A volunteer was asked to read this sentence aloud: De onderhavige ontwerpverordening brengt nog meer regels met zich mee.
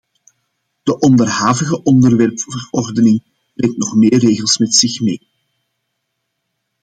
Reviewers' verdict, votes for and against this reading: accepted, 2, 0